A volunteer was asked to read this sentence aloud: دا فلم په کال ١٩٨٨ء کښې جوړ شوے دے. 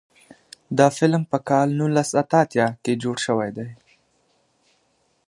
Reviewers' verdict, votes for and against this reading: rejected, 0, 2